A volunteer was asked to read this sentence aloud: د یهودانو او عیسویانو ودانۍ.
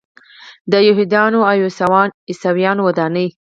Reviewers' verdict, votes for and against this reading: accepted, 4, 0